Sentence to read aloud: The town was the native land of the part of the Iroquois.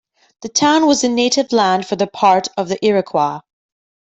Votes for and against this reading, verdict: 0, 2, rejected